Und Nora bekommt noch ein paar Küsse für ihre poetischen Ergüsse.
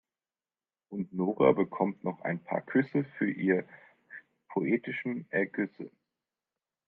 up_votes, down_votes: 1, 3